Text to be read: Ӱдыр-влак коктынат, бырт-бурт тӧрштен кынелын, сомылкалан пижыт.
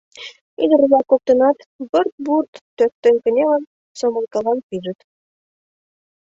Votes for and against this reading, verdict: 0, 2, rejected